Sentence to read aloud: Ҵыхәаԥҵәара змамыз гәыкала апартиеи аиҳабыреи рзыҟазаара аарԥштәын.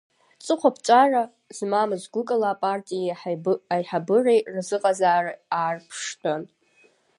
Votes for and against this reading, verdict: 2, 1, accepted